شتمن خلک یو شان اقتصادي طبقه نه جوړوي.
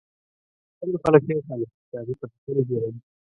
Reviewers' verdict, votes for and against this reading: rejected, 0, 2